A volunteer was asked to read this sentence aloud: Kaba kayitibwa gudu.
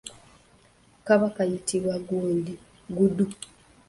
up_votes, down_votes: 0, 2